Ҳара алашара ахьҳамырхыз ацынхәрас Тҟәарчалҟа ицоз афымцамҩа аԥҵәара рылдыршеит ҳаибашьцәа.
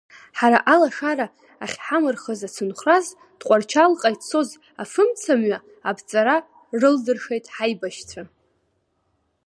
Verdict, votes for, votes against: rejected, 0, 2